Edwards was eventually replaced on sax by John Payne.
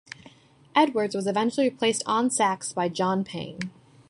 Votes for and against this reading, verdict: 2, 0, accepted